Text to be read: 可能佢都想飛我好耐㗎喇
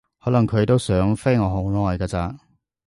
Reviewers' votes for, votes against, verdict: 0, 2, rejected